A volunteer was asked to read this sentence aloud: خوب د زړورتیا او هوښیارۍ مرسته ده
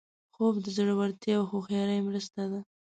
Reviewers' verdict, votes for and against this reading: accepted, 5, 0